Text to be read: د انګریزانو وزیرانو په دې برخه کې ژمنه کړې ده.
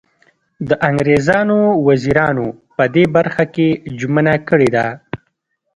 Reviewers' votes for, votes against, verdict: 2, 0, accepted